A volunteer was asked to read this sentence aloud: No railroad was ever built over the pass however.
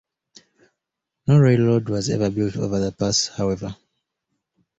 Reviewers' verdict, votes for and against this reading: accepted, 2, 0